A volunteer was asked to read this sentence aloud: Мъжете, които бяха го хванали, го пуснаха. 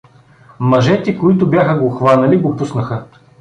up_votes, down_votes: 2, 0